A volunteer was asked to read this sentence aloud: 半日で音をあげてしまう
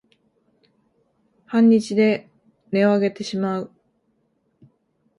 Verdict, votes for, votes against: accepted, 2, 0